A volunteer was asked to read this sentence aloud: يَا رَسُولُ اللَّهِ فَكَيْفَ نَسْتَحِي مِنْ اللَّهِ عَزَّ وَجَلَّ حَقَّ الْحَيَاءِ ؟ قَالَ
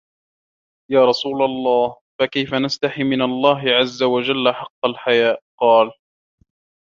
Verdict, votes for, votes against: rejected, 1, 2